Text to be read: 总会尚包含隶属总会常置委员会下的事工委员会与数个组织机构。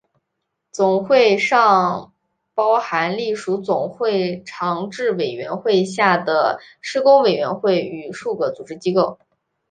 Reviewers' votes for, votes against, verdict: 2, 1, accepted